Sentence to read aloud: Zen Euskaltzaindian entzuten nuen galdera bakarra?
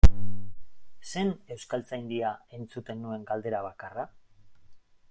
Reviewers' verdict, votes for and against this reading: accepted, 2, 0